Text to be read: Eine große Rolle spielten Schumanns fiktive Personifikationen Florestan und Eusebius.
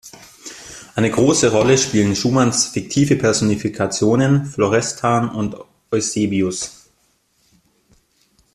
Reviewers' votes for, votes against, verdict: 1, 2, rejected